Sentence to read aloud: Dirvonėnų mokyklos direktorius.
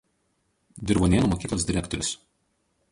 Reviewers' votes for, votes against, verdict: 2, 2, rejected